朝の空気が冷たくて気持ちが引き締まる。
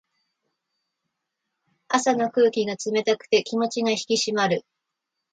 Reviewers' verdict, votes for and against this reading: accepted, 2, 0